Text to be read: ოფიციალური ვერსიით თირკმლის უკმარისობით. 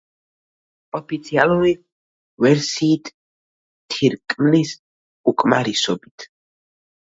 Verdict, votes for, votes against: rejected, 2, 3